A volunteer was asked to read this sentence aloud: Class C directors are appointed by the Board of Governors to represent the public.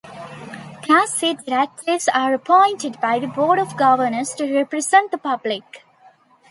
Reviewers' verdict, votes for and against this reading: rejected, 1, 2